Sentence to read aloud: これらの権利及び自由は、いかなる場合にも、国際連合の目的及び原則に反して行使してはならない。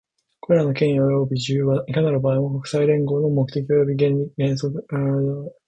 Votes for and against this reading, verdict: 1, 2, rejected